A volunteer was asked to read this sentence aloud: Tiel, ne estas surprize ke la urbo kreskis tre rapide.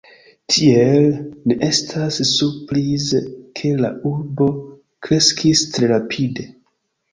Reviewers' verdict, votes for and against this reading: accepted, 2, 0